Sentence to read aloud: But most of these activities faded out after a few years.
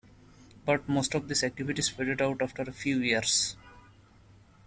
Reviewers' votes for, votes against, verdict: 1, 2, rejected